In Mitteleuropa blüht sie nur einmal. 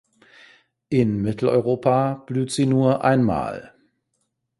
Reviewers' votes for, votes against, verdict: 2, 0, accepted